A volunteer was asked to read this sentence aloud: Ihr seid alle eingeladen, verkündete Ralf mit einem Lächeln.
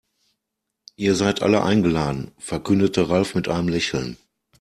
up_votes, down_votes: 2, 0